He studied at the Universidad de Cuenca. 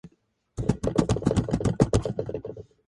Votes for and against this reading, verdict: 0, 2, rejected